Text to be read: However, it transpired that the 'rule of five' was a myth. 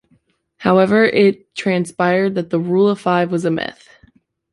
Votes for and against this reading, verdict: 2, 0, accepted